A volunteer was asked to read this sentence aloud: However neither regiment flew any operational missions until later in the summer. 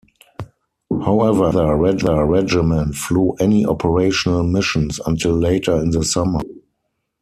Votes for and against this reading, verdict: 0, 4, rejected